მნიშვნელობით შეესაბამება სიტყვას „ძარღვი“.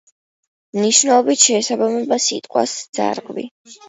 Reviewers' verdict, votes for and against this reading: accepted, 2, 0